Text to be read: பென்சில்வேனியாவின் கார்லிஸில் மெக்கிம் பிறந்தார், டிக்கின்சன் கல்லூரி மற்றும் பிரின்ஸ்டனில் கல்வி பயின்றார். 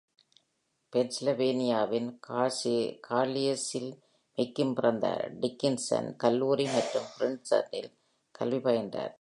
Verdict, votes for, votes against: rejected, 1, 2